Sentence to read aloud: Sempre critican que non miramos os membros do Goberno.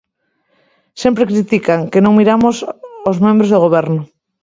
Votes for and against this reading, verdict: 1, 2, rejected